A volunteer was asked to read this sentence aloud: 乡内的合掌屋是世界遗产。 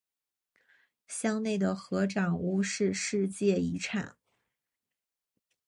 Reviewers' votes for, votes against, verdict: 2, 0, accepted